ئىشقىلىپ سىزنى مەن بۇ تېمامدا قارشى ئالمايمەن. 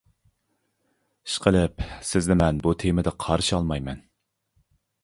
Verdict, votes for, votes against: rejected, 0, 2